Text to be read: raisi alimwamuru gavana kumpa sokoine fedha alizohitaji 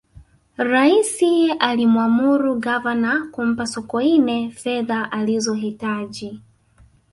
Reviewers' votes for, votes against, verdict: 2, 0, accepted